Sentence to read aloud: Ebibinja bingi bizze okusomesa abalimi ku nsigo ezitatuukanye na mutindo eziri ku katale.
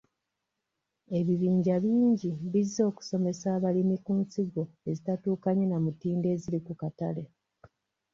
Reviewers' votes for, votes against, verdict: 3, 0, accepted